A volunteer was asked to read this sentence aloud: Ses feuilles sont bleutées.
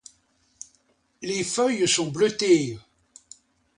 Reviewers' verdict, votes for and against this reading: rejected, 0, 2